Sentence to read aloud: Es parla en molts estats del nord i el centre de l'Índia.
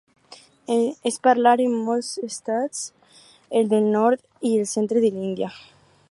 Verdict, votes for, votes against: rejected, 2, 2